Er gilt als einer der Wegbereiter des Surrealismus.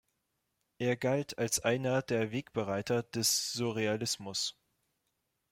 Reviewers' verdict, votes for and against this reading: rejected, 0, 2